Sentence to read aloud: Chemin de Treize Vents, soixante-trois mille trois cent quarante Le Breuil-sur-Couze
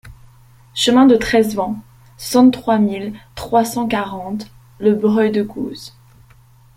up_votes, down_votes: 0, 2